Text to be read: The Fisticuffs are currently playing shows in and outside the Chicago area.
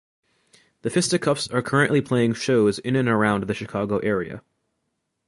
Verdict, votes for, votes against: rejected, 0, 2